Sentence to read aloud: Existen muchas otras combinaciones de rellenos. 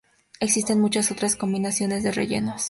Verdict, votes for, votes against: accepted, 2, 0